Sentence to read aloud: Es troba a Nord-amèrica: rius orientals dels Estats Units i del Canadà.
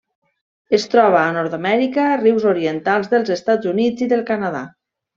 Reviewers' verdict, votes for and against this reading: accepted, 2, 0